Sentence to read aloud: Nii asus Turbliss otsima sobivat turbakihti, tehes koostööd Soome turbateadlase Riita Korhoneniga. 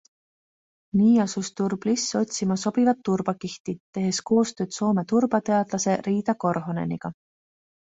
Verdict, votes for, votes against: accepted, 2, 0